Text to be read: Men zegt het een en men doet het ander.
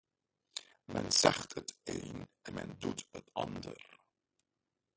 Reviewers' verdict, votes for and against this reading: rejected, 1, 2